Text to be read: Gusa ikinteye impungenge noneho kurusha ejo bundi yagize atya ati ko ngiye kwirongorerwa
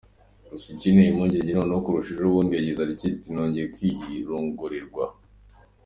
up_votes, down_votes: 3, 2